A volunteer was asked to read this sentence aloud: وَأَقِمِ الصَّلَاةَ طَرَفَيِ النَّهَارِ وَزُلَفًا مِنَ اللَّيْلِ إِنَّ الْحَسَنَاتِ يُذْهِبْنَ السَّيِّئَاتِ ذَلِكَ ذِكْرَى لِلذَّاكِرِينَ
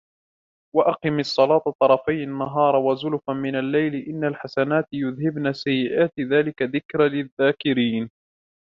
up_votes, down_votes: 2, 0